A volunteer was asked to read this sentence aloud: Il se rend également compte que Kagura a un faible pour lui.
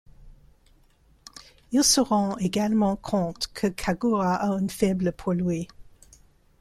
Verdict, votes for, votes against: rejected, 0, 2